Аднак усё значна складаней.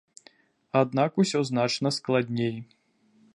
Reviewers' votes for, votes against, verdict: 0, 2, rejected